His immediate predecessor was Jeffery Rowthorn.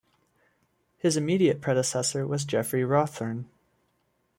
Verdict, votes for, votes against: accepted, 2, 0